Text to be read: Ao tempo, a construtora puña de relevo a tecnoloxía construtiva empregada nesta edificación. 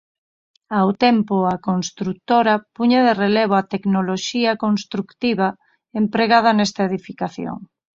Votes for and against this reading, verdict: 2, 4, rejected